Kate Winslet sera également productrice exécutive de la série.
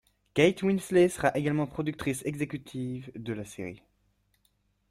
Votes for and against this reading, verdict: 2, 0, accepted